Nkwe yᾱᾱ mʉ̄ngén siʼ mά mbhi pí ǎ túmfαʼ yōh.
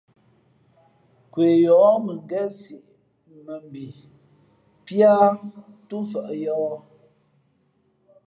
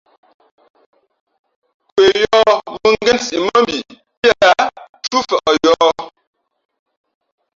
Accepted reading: first